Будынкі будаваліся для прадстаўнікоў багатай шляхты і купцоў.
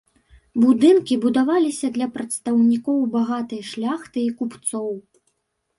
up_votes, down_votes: 2, 0